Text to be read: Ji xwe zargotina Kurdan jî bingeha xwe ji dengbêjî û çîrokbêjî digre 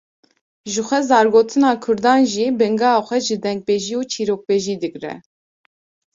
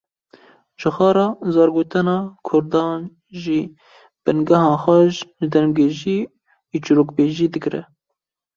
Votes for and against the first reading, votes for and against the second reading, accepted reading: 2, 0, 1, 2, first